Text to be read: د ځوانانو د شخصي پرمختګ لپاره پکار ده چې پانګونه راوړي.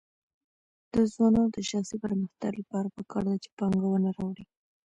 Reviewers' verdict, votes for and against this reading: rejected, 0, 2